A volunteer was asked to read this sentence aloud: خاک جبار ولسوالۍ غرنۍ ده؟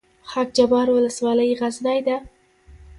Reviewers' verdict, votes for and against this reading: accepted, 2, 0